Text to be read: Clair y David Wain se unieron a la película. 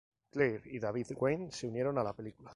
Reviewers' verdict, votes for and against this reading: rejected, 2, 2